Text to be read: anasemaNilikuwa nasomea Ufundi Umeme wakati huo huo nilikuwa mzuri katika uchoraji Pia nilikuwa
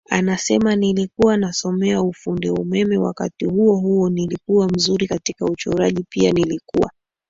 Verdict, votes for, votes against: rejected, 2, 3